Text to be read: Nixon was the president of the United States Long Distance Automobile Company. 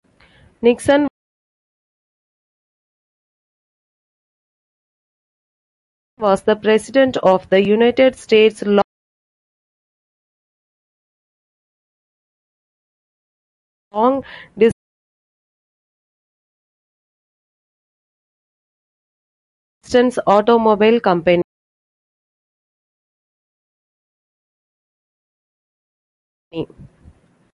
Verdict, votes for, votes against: rejected, 0, 2